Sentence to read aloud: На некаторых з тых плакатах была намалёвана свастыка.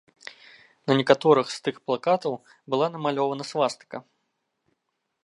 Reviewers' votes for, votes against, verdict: 1, 2, rejected